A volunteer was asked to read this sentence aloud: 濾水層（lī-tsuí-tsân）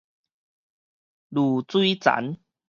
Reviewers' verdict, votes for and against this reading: rejected, 2, 2